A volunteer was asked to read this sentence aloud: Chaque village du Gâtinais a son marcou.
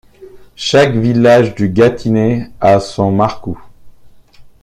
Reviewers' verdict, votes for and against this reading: accepted, 2, 0